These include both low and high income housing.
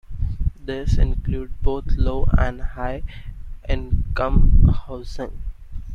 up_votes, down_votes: 2, 0